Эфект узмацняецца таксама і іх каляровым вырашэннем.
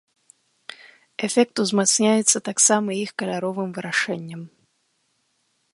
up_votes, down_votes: 2, 0